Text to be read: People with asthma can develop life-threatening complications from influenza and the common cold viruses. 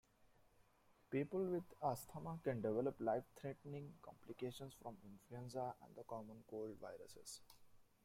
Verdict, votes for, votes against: rejected, 1, 2